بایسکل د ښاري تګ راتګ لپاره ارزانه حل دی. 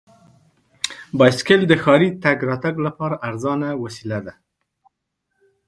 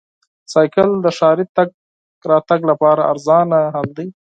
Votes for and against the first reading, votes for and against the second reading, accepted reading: 1, 2, 4, 0, second